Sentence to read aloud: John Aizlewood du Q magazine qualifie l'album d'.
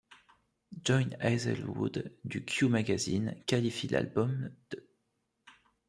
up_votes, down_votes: 2, 0